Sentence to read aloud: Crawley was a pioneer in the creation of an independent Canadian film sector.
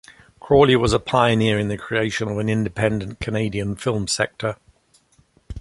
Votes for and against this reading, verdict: 2, 0, accepted